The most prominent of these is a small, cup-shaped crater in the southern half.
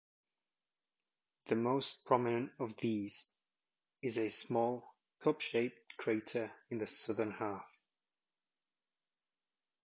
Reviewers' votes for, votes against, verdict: 2, 0, accepted